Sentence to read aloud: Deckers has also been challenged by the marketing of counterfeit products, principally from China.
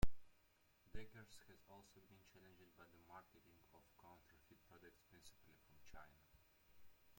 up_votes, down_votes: 0, 2